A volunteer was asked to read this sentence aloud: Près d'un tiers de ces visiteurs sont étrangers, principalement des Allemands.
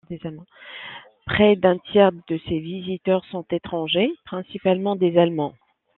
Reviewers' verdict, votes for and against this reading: accepted, 2, 1